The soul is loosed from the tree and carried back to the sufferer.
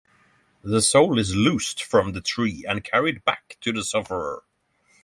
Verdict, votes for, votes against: accepted, 6, 3